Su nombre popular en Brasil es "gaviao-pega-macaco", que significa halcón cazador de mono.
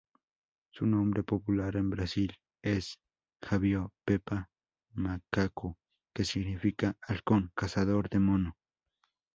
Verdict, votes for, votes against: rejected, 2, 2